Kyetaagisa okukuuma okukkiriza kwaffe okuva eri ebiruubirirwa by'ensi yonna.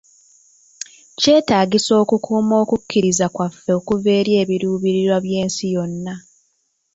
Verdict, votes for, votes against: accepted, 2, 1